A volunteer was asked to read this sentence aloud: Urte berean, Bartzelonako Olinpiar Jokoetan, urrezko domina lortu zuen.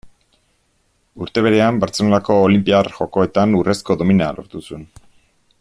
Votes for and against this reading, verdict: 2, 0, accepted